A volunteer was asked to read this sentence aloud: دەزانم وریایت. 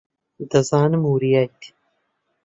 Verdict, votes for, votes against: accepted, 8, 0